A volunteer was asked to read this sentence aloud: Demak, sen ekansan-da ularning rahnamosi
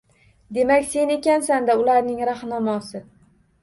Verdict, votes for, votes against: rejected, 1, 2